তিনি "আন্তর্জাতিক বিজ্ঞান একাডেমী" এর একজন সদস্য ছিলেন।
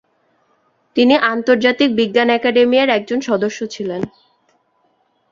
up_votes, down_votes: 7, 0